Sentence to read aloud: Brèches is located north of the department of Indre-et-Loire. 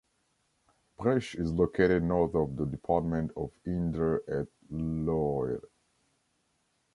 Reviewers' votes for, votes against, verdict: 1, 2, rejected